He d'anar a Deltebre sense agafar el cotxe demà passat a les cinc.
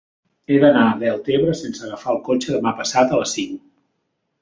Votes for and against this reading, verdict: 3, 0, accepted